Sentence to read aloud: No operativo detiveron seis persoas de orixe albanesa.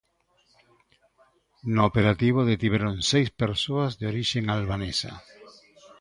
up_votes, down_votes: 2, 1